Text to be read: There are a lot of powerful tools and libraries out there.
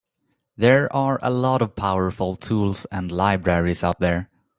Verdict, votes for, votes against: accepted, 3, 0